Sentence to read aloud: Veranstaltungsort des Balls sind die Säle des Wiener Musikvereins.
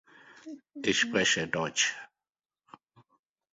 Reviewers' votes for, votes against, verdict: 1, 3, rejected